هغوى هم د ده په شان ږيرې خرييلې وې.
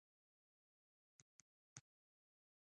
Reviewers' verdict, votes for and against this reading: rejected, 1, 2